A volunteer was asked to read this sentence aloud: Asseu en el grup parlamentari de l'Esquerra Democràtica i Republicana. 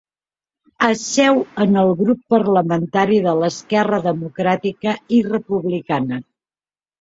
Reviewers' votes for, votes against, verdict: 2, 0, accepted